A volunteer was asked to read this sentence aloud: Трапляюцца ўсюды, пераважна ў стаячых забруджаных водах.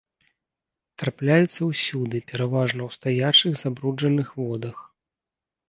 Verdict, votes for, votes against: accepted, 3, 0